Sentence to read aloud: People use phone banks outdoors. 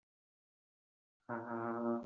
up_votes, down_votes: 0, 2